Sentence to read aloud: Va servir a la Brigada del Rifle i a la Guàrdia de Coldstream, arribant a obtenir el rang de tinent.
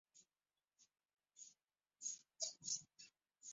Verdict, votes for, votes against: rejected, 0, 3